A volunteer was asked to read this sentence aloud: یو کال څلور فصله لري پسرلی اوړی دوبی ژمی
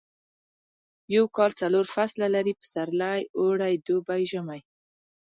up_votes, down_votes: 0, 2